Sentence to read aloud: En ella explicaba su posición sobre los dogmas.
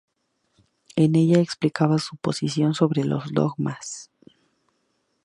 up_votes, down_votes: 2, 0